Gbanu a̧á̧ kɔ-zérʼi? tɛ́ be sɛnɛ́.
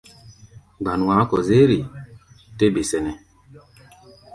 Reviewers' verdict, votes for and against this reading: accepted, 2, 0